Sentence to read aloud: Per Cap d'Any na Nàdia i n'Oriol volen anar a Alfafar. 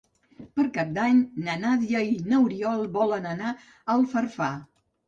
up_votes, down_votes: 0, 2